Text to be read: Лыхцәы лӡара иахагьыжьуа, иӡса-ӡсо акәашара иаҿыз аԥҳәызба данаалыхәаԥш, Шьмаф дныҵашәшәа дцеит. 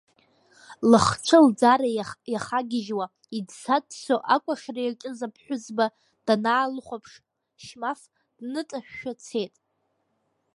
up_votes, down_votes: 2, 3